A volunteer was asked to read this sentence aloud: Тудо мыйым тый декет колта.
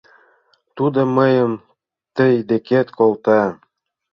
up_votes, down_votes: 2, 0